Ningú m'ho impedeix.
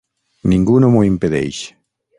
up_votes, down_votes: 0, 6